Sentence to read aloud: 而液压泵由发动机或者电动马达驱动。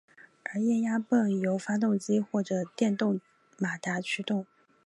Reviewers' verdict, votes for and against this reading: accepted, 3, 1